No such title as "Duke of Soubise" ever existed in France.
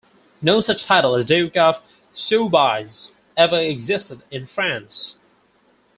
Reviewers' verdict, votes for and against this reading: rejected, 2, 4